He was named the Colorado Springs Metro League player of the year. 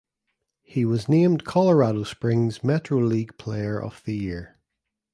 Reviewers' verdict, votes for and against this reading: rejected, 1, 2